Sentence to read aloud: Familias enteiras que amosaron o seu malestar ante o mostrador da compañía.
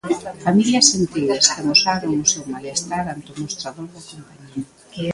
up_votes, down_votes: 0, 2